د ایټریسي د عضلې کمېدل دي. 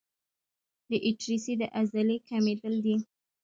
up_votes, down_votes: 1, 2